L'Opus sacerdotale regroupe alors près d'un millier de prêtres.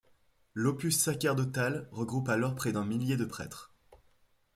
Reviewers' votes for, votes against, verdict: 2, 0, accepted